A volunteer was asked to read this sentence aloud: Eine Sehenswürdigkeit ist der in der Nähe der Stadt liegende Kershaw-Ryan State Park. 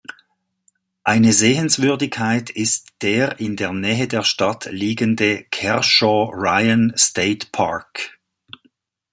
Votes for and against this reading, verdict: 2, 0, accepted